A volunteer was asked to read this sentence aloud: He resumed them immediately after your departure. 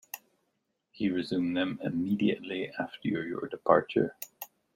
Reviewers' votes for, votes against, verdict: 1, 2, rejected